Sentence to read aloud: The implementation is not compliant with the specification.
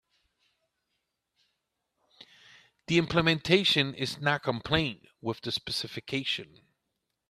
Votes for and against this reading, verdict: 1, 2, rejected